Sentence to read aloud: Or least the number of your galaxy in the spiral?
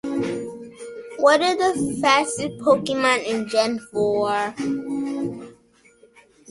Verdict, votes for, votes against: rejected, 1, 2